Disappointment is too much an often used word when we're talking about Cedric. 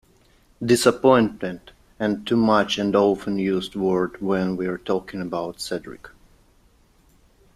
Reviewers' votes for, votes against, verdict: 0, 2, rejected